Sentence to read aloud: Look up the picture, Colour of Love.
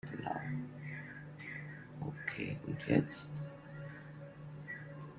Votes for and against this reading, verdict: 0, 2, rejected